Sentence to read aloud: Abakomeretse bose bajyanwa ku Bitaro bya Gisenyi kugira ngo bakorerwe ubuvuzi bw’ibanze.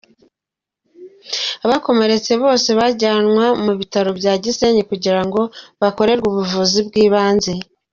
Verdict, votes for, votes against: accepted, 2, 0